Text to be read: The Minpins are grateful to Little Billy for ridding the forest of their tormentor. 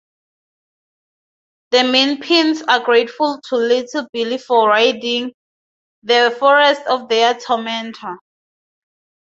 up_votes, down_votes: 0, 2